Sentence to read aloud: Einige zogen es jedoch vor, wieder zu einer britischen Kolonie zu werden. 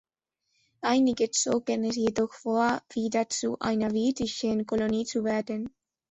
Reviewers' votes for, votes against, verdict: 0, 2, rejected